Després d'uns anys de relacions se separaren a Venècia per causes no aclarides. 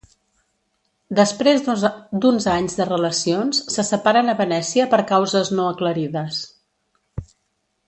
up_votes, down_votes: 0, 2